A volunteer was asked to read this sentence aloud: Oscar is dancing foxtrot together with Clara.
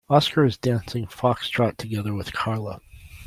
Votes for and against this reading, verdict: 0, 2, rejected